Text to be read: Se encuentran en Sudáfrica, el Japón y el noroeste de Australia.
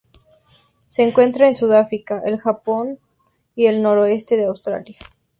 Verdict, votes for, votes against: accepted, 2, 0